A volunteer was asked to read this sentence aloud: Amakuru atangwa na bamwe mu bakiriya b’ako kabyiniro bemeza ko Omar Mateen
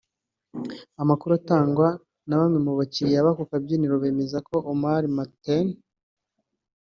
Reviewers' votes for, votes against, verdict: 2, 0, accepted